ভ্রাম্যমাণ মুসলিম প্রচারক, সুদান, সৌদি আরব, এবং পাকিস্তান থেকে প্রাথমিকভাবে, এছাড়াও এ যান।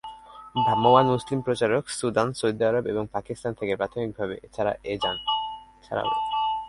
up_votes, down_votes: 2, 2